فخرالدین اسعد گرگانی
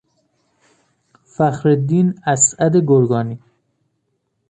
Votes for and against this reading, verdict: 2, 0, accepted